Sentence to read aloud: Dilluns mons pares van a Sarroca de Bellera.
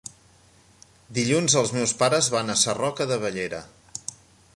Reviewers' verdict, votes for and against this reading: rejected, 0, 2